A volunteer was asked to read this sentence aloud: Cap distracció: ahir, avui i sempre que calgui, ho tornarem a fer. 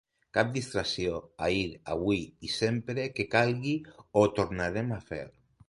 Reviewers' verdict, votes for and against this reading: accepted, 2, 1